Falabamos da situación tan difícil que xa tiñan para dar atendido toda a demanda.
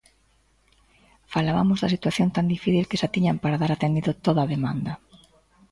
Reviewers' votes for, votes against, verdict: 2, 0, accepted